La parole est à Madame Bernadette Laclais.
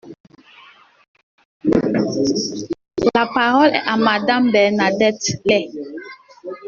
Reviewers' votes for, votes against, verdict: 0, 2, rejected